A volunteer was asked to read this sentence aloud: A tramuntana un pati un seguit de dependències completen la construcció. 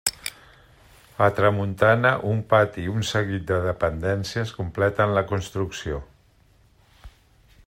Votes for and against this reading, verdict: 1, 2, rejected